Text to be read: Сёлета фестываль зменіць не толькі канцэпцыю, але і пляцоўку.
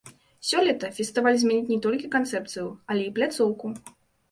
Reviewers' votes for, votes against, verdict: 2, 1, accepted